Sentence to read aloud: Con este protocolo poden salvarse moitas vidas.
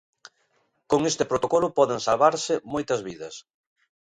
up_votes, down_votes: 2, 0